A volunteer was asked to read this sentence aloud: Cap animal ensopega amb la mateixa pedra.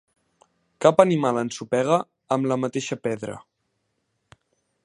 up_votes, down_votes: 2, 0